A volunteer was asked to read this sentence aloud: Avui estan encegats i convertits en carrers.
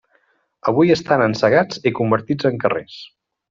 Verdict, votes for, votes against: accepted, 3, 0